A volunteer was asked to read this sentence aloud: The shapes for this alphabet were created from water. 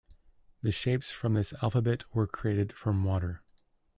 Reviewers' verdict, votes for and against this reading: rejected, 0, 2